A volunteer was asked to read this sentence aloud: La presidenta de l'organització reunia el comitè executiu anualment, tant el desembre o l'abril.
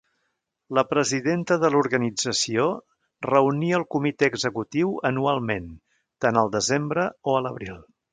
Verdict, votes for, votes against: rejected, 0, 2